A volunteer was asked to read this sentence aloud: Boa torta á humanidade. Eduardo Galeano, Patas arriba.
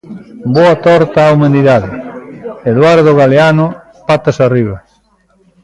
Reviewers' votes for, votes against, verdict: 2, 0, accepted